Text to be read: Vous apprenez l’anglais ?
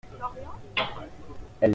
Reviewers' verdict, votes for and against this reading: rejected, 0, 2